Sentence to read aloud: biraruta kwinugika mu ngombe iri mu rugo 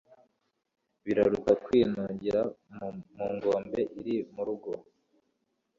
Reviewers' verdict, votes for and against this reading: accepted, 2, 0